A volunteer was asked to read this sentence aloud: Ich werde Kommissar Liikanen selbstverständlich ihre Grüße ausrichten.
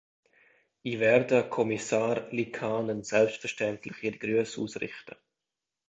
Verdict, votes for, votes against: accepted, 2, 1